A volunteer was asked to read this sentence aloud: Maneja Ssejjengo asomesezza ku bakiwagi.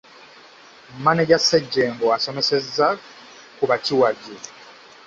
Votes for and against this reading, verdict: 2, 1, accepted